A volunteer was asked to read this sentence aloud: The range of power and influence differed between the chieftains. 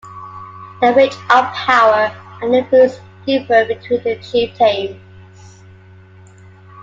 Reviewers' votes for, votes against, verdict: 2, 1, accepted